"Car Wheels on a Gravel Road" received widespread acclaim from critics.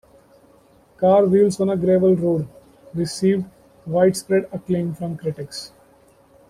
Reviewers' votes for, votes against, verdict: 2, 1, accepted